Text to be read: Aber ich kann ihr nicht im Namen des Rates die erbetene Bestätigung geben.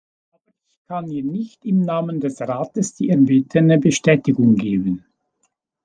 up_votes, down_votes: 1, 2